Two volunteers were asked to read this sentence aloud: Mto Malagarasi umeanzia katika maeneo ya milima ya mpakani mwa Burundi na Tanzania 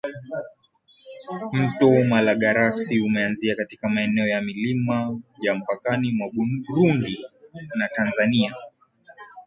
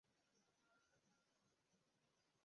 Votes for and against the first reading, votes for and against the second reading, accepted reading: 2, 1, 0, 2, first